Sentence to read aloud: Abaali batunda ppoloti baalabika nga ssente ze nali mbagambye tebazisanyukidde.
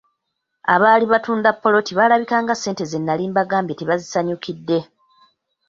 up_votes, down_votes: 0, 2